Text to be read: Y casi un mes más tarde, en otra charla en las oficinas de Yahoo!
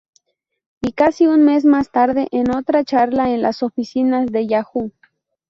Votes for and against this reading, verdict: 4, 0, accepted